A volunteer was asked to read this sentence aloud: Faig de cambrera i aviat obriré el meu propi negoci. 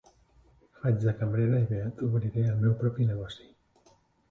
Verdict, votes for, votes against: rejected, 1, 2